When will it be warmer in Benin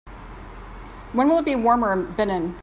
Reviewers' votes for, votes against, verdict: 2, 0, accepted